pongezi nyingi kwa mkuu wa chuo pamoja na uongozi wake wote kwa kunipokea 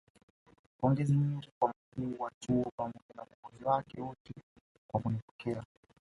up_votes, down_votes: 0, 2